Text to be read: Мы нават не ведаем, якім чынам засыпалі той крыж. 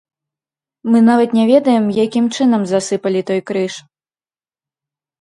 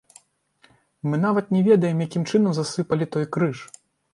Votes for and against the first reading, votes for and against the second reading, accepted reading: 2, 0, 1, 2, first